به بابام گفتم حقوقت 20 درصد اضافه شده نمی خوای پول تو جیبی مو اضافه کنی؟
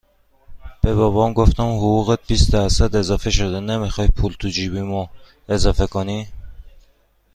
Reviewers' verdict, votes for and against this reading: rejected, 0, 2